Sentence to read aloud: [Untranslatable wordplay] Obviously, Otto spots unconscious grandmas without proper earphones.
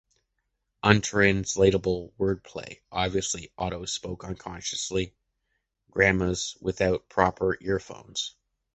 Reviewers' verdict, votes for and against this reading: rejected, 0, 2